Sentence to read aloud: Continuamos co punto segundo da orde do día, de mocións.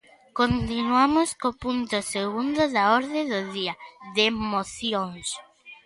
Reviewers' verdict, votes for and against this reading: rejected, 1, 2